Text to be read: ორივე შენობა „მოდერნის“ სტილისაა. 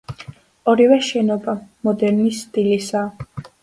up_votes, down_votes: 2, 0